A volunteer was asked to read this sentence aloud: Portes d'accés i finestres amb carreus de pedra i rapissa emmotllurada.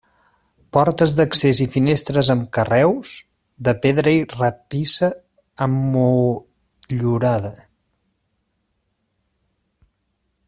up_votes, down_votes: 0, 2